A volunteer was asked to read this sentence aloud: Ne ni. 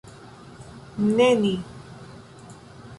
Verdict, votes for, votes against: accepted, 2, 0